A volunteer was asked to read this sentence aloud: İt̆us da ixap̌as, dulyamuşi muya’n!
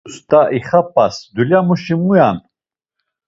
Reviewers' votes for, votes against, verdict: 0, 2, rejected